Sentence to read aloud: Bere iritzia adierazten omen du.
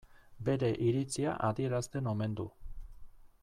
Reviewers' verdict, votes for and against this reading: accepted, 2, 0